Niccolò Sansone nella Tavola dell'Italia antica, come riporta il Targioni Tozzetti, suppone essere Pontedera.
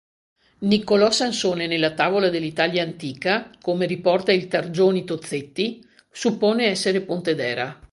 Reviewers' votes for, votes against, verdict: 2, 0, accepted